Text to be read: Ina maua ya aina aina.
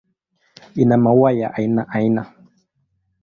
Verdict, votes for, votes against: accepted, 2, 0